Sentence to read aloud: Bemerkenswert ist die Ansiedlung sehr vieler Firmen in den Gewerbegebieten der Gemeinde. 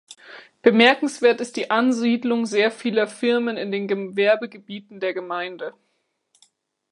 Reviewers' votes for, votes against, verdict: 1, 2, rejected